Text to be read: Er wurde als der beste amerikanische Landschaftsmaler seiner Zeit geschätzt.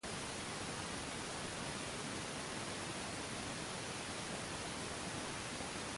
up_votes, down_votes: 0, 2